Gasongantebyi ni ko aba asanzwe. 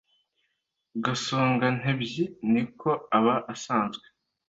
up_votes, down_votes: 2, 0